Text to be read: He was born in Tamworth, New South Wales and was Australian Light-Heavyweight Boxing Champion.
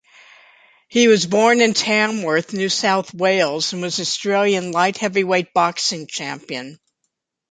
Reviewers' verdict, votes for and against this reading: accepted, 2, 0